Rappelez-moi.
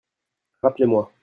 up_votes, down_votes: 2, 0